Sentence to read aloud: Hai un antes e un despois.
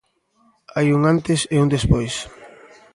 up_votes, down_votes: 2, 0